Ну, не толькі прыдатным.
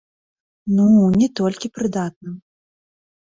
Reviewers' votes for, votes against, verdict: 0, 2, rejected